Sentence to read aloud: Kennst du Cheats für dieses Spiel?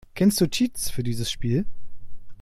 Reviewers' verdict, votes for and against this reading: accepted, 2, 0